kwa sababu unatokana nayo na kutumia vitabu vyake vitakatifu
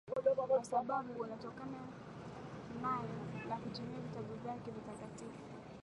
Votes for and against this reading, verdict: 2, 4, rejected